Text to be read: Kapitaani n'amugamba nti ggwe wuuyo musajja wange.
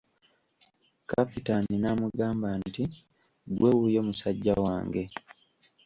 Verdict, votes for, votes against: rejected, 1, 2